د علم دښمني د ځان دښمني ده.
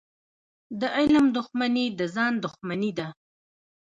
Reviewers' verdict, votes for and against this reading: rejected, 0, 2